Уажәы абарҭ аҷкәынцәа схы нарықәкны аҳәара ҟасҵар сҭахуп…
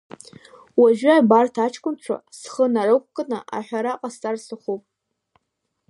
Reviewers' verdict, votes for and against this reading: accepted, 3, 1